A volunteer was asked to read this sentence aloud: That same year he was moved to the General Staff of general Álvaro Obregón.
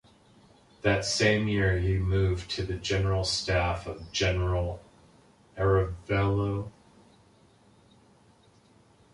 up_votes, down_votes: 0, 2